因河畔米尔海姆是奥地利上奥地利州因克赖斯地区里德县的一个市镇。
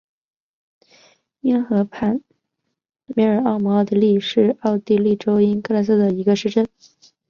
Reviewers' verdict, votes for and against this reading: rejected, 1, 2